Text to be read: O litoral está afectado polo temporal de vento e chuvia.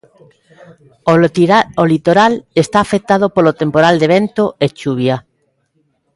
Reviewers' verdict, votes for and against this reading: rejected, 0, 2